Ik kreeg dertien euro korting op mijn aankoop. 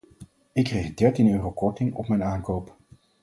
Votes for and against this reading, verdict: 4, 0, accepted